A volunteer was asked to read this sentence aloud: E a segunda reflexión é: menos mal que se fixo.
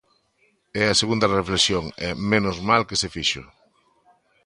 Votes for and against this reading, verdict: 1, 2, rejected